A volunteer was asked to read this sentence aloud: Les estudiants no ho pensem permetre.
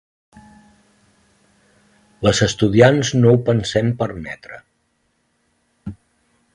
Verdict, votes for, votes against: accepted, 2, 0